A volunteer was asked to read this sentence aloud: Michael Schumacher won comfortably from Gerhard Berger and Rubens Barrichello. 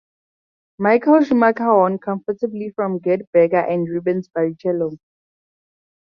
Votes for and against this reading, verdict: 2, 0, accepted